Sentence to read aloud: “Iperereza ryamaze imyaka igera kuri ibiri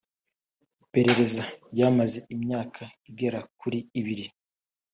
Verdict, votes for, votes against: accepted, 2, 0